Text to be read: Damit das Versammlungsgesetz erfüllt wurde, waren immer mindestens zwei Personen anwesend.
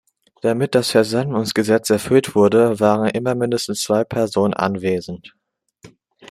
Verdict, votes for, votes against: accepted, 2, 0